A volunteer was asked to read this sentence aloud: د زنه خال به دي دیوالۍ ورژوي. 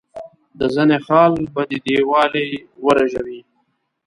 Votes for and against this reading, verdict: 2, 1, accepted